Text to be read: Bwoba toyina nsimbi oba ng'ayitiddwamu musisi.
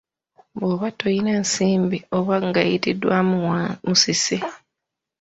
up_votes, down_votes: 1, 2